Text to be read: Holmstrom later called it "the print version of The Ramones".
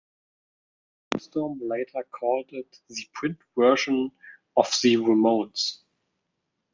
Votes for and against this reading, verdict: 0, 2, rejected